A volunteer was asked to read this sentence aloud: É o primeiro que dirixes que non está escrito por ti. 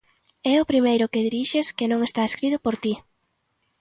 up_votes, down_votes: 2, 0